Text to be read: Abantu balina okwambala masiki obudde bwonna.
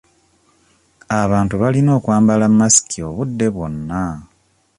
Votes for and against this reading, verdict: 2, 0, accepted